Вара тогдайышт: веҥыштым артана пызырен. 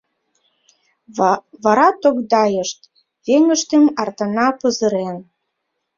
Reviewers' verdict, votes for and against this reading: rejected, 0, 2